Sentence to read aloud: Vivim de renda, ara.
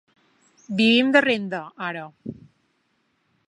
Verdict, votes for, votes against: accepted, 2, 0